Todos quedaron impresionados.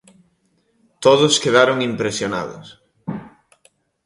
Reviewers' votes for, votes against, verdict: 2, 0, accepted